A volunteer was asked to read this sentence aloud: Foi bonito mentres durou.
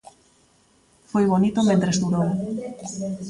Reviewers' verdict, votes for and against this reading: rejected, 1, 2